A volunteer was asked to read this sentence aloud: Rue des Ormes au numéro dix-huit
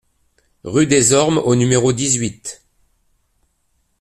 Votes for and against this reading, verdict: 2, 0, accepted